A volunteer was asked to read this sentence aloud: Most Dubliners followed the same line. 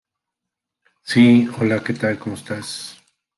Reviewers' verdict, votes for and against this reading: rejected, 0, 2